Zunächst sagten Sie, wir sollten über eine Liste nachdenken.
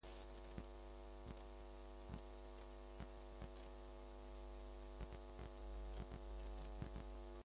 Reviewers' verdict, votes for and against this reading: rejected, 0, 2